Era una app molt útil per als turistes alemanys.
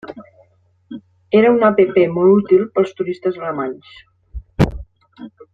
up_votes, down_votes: 2, 0